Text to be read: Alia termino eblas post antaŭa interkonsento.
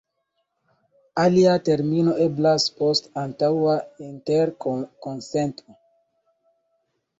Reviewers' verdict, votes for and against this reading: rejected, 0, 2